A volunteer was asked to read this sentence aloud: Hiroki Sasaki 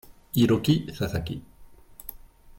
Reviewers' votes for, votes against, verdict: 0, 2, rejected